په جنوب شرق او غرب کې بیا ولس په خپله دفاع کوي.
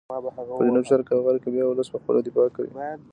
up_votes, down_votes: 1, 2